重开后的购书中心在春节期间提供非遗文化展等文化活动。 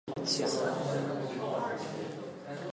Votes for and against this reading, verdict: 0, 3, rejected